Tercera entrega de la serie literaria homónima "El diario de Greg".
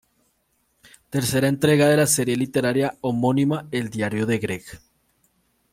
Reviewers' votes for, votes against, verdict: 2, 0, accepted